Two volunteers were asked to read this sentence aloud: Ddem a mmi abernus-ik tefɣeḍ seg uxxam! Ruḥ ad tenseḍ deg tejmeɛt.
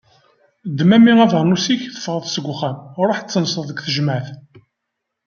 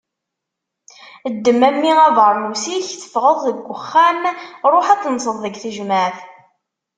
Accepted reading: first